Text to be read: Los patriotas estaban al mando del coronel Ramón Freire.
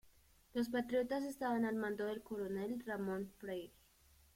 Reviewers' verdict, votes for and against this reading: accepted, 2, 1